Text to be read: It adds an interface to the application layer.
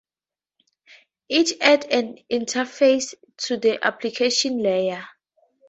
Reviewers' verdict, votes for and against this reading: accepted, 4, 0